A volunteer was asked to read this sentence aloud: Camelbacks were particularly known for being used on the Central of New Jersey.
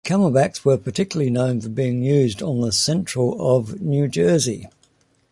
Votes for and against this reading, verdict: 2, 0, accepted